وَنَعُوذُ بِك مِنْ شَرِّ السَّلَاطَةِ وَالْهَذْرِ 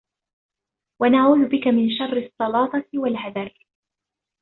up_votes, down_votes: 0, 2